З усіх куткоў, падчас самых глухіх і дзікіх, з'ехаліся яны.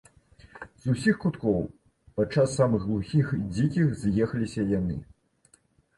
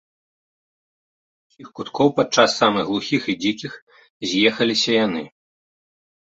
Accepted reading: first